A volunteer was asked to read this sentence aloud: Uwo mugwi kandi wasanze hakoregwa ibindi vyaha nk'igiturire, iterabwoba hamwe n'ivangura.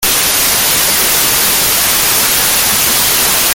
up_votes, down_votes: 0, 2